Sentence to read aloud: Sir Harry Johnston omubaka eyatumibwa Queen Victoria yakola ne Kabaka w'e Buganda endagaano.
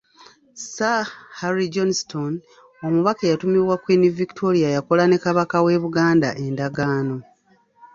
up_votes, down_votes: 2, 0